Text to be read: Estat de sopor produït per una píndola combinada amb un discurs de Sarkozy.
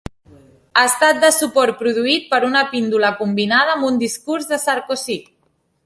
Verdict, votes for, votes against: accepted, 2, 0